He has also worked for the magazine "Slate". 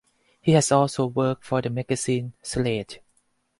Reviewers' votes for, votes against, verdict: 4, 0, accepted